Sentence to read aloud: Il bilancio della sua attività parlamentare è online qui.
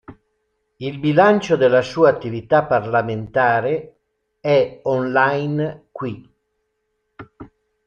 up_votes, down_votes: 2, 0